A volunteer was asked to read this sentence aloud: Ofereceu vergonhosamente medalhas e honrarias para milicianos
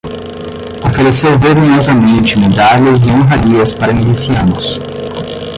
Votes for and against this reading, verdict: 5, 10, rejected